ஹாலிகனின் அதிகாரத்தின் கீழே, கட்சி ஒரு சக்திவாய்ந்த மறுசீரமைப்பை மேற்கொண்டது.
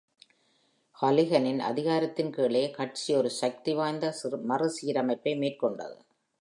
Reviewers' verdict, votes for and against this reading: rejected, 0, 2